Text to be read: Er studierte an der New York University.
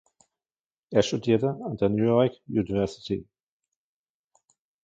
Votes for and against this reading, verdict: 1, 2, rejected